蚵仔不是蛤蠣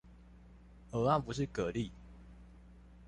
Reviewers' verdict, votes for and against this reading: rejected, 0, 2